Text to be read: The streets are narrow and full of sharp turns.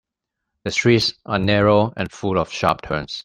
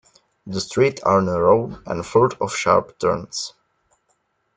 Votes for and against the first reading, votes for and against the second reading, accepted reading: 2, 0, 0, 2, first